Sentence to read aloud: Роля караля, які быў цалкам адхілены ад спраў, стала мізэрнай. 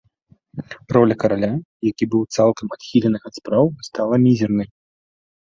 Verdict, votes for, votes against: rejected, 0, 2